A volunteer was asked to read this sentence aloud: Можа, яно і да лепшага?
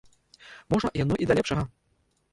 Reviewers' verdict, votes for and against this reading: rejected, 0, 2